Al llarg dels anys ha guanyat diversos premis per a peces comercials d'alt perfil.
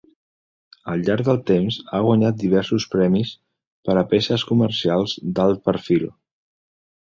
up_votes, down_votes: 0, 2